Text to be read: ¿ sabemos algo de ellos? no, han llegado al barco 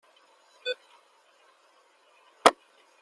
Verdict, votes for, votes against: rejected, 0, 2